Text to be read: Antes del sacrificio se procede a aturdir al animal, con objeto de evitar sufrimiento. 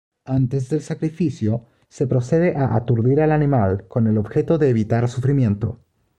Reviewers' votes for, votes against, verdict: 2, 0, accepted